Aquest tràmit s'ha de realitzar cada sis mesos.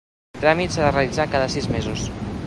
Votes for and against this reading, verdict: 1, 2, rejected